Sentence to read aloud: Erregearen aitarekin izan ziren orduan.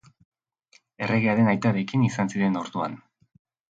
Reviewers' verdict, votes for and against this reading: accepted, 3, 0